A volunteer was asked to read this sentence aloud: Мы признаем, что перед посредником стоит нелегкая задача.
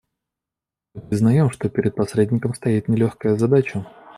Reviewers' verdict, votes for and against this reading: rejected, 0, 2